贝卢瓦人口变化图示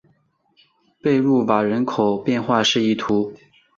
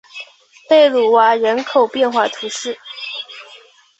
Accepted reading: second